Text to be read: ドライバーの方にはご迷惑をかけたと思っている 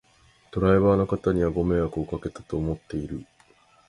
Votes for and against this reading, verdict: 2, 0, accepted